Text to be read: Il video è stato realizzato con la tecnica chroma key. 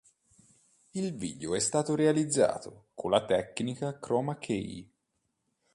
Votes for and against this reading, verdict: 2, 1, accepted